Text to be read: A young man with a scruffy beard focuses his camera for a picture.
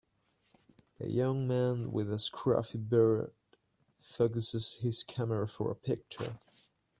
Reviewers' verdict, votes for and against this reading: accepted, 2, 1